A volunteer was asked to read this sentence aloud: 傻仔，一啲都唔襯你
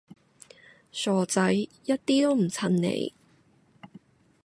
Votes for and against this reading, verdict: 3, 0, accepted